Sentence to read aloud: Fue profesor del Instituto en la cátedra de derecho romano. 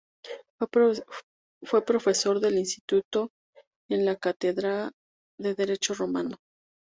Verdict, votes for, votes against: accepted, 2, 0